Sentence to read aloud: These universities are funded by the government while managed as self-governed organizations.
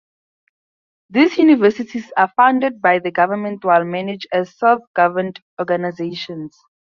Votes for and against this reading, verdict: 2, 0, accepted